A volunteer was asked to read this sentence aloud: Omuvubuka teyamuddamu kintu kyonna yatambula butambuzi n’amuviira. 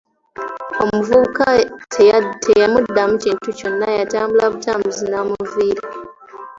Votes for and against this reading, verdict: 3, 2, accepted